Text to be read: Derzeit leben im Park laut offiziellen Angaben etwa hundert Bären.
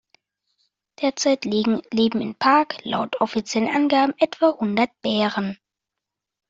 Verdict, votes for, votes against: rejected, 1, 2